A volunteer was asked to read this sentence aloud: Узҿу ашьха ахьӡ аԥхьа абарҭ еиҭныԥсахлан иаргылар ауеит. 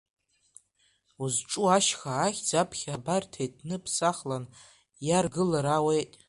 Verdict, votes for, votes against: rejected, 0, 2